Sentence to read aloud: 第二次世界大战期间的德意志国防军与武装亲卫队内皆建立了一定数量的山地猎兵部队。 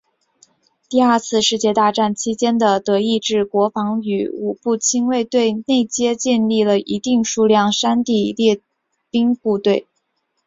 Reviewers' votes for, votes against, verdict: 3, 2, accepted